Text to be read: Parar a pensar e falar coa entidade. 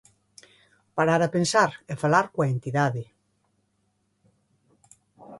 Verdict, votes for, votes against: accepted, 22, 0